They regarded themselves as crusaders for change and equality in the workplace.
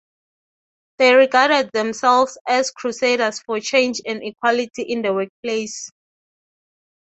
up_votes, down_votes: 3, 0